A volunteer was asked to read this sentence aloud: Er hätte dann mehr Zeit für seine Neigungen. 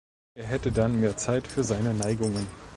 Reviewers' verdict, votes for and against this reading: accepted, 2, 0